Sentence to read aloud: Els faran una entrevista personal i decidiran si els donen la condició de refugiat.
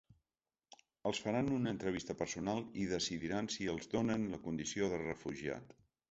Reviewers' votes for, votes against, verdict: 2, 1, accepted